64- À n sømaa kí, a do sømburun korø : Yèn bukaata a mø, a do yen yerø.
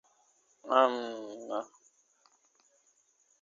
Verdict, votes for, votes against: rejected, 0, 2